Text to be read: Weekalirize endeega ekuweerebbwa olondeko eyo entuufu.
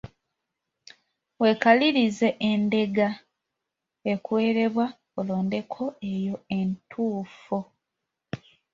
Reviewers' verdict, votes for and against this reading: accepted, 2, 0